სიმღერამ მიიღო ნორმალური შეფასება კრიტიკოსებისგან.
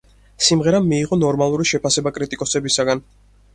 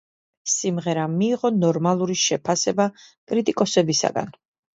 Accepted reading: second